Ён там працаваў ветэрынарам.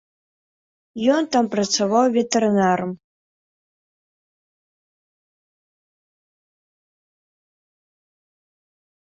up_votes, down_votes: 2, 0